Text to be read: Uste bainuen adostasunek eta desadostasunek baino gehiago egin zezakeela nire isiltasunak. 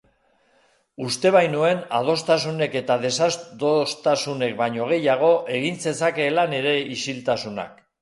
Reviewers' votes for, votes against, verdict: 0, 2, rejected